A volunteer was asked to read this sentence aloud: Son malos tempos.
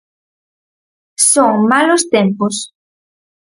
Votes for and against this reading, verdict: 4, 0, accepted